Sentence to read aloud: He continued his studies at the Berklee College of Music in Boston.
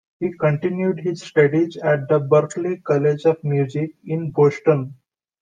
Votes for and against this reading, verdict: 2, 0, accepted